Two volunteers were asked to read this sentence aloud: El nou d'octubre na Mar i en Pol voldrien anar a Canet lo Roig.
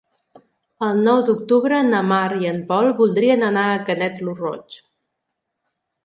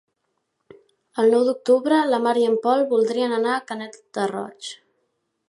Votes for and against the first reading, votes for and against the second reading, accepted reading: 2, 0, 1, 2, first